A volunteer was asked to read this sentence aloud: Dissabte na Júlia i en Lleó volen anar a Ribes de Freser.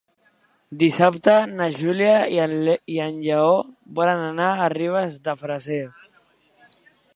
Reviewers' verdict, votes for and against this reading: rejected, 0, 3